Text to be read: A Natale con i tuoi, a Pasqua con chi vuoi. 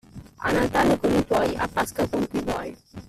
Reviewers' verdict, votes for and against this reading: rejected, 1, 2